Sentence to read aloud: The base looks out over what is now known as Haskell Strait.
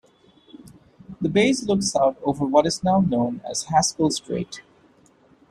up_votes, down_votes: 2, 0